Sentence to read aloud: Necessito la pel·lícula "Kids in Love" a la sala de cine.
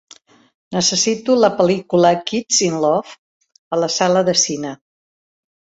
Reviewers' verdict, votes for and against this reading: accepted, 3, 0